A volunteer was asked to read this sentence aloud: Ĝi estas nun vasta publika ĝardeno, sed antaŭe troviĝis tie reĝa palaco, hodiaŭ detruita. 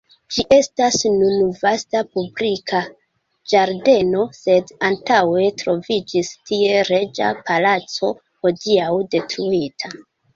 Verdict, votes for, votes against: rejected, 0, 2